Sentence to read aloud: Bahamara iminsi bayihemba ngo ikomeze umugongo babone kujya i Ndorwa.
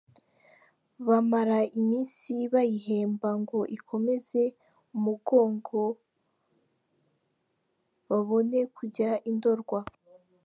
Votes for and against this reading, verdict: 1, 2, rejected